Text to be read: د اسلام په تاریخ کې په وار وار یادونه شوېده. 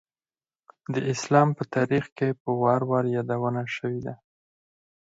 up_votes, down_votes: 0, 4